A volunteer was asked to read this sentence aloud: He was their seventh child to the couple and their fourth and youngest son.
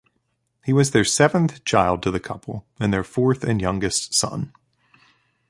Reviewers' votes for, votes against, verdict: 2, 0, accepted